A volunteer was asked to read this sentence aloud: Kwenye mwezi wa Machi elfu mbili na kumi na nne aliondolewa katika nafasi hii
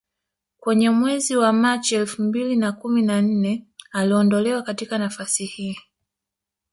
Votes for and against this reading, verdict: 2, 0, accepted